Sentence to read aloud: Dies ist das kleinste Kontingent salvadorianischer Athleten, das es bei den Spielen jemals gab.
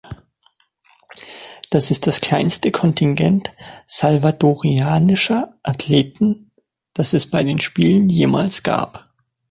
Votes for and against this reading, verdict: 1, 4, rejected